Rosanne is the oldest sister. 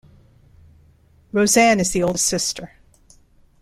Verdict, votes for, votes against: accepted, 2, 1